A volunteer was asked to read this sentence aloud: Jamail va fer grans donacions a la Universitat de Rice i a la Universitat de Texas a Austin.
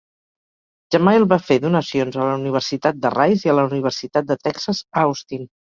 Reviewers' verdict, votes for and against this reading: rejected, 0, 4